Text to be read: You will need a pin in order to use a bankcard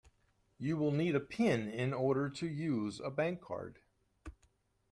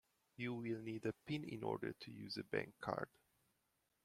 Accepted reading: second